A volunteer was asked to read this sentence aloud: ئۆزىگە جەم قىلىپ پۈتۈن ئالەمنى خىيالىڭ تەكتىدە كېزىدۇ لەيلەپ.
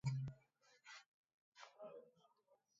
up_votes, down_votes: 0, 2